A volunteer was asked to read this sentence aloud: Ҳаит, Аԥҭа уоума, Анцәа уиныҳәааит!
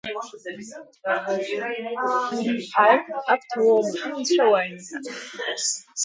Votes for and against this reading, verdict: 0, 4, rejected